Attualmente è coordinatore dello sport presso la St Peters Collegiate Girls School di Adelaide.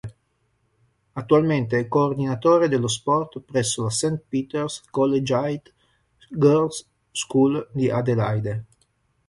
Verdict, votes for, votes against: rejected, 2, 3